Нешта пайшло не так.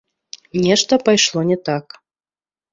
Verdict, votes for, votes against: rejected, 1, 2